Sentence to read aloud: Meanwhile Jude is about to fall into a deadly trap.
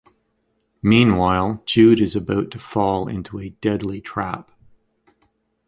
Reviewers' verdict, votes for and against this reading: rejected, 1, 2